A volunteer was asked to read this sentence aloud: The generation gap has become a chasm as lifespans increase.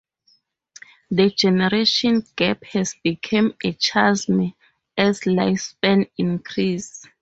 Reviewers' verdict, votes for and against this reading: accepted, 2, 0